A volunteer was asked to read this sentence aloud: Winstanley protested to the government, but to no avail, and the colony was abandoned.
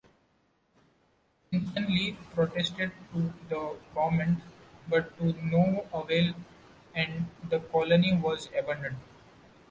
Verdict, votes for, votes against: accepted, 2, 1